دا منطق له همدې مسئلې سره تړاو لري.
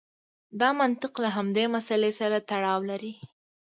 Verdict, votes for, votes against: accepted, 2, 0